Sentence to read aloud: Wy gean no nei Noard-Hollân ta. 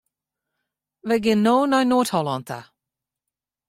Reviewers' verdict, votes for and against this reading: accepted, 2, 0